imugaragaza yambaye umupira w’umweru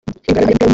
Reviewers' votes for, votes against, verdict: 0, 2, rejected